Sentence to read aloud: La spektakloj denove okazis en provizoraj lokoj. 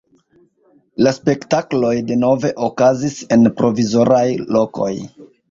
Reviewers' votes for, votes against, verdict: 2, 0, accepted